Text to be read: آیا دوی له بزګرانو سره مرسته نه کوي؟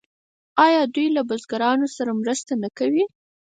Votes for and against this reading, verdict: 4, 2, accepted